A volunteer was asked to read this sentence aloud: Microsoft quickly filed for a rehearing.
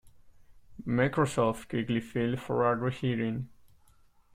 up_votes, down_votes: 0, 2